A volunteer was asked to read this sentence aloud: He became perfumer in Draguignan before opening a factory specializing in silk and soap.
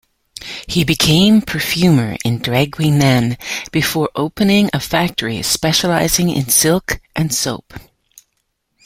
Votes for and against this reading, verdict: 2, 0, accepted